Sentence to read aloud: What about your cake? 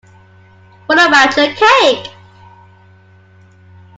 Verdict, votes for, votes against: accepted, 2, 0